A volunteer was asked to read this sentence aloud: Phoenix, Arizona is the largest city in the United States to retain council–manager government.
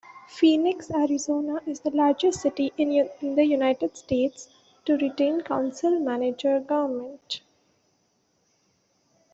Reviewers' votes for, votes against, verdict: 1, 2, rejected